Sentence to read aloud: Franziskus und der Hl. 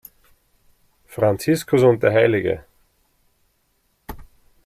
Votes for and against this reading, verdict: 1, 2, rejected